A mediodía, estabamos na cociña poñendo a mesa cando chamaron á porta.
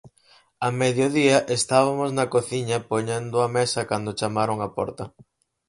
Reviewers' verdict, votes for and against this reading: rejected, 2, 2